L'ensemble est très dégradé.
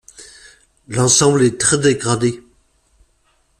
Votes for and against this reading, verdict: 2, 0, accepted